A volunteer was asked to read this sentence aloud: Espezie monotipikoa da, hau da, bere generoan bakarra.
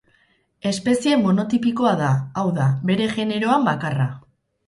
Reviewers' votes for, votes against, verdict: 2, 0, accepted